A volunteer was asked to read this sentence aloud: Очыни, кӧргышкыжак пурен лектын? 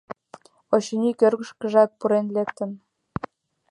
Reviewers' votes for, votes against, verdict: 2, 0, accepted